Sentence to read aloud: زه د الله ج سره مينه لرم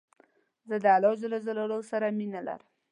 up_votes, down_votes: 2, 0